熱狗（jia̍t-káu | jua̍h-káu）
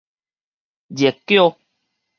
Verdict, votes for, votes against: rejected, 2, 2